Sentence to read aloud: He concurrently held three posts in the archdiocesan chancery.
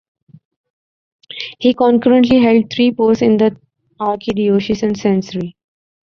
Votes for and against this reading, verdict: 0, 2, rejected